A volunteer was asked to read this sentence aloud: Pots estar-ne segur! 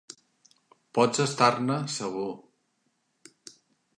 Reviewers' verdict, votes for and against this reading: accepted, 3, 0